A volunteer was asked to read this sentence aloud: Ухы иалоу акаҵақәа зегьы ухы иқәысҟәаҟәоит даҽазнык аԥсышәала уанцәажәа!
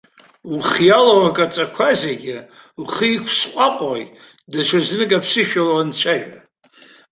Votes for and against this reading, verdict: 2, 1, accepted